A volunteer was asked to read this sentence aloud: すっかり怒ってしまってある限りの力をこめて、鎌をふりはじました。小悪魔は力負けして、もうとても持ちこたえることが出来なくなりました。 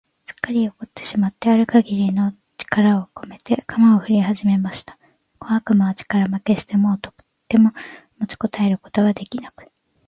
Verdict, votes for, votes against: rejected, 0, 2